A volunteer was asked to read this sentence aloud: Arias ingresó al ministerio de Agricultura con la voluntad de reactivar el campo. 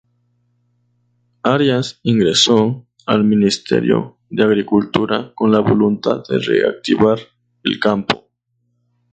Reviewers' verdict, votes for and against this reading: accepted, 2, 0